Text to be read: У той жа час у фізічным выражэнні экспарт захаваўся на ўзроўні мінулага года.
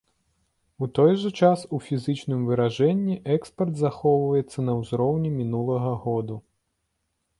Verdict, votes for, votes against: rejected, 1, 2